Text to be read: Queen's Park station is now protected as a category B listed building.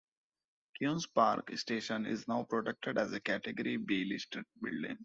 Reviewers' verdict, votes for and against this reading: rejected, 0, 2